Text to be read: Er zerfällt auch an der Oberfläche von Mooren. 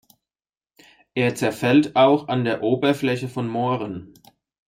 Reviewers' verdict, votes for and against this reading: accepted, 2, 0